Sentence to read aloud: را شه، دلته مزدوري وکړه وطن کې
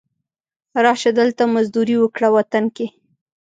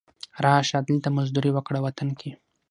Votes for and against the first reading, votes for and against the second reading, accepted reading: 0, 2, 6, 0, second